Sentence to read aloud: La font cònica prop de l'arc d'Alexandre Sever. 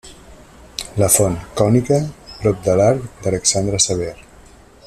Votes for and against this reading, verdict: 2, 0, accepted